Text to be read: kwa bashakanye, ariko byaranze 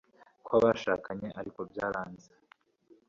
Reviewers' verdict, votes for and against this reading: accepted, 2, 0